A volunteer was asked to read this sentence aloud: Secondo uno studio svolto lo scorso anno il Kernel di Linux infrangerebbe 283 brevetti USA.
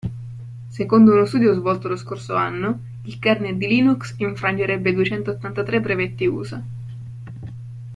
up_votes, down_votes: 0, 2